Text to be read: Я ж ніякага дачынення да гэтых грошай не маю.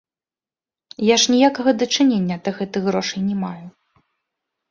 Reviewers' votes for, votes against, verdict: 2, 0, accepted